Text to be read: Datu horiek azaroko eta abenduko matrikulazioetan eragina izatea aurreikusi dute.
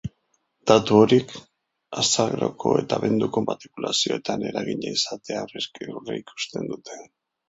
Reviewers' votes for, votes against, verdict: 0, 5, rejected